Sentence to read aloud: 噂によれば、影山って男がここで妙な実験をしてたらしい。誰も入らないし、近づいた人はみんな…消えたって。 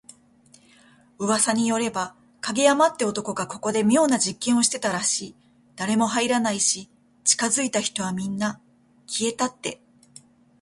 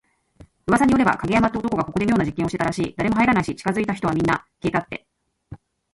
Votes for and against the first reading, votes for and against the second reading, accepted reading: 2, 0, 0, 2, first